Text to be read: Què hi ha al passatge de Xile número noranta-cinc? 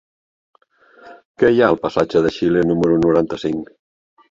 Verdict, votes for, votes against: accepted, 3, 1